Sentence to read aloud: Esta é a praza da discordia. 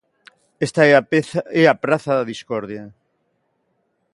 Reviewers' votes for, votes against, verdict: 1, 2, rejected